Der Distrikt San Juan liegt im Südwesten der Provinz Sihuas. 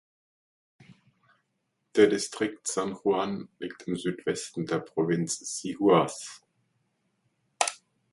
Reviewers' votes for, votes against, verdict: 2, 0, accepted